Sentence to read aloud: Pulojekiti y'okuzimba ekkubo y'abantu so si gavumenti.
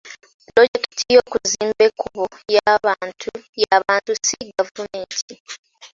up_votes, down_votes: 0, 2